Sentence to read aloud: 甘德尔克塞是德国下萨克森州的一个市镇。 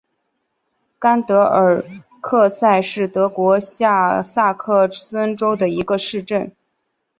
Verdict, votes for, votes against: accepted, 6, 0